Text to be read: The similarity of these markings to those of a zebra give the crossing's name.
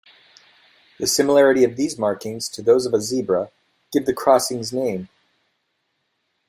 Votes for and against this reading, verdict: 2, 0, accepted